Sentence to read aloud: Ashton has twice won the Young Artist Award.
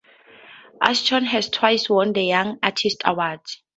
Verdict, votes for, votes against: accepted, 2, 0